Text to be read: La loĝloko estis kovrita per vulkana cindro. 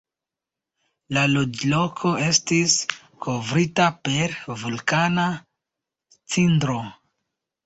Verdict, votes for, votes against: accepted, 2, 1